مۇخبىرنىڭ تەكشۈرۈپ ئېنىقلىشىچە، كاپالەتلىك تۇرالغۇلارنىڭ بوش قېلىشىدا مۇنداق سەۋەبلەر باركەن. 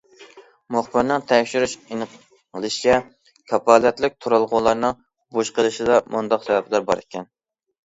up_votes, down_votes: 0, 2